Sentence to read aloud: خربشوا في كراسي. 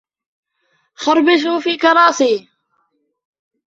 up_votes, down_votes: 2, 1